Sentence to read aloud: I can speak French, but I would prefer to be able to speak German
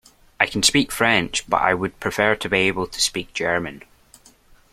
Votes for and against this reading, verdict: 2, 0, accepted